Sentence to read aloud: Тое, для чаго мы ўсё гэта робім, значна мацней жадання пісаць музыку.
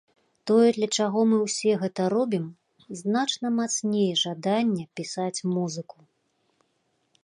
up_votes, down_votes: 0, 2